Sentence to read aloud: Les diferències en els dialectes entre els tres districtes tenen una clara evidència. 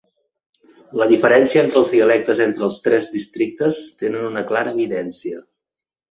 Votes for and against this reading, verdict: 1, 2, rejected